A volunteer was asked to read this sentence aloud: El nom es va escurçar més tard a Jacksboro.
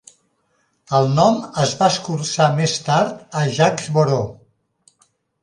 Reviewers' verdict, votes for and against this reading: accepted, 2, 0